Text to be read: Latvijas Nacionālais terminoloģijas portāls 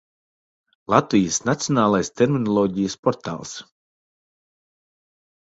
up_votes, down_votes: 2, 0